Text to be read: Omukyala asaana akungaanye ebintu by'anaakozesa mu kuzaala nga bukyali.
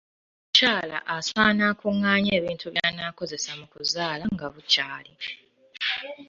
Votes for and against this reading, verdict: 0, 2, rejected